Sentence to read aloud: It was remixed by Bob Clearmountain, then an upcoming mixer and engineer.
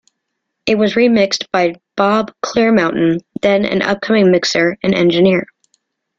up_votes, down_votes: 2, 0